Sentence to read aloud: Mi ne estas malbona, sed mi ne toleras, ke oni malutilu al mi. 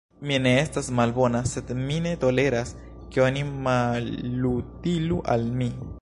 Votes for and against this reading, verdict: 1, 2, rejected